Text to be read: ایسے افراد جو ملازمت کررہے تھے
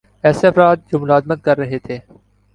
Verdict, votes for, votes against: accepted, 3, 0